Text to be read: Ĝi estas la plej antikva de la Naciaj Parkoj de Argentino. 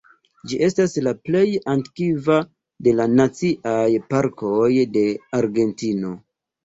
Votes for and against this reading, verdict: 3, 0, accepted